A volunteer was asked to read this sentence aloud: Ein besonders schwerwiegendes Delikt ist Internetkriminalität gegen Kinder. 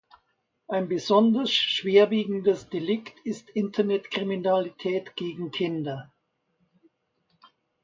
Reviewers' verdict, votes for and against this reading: accepted, 2, 0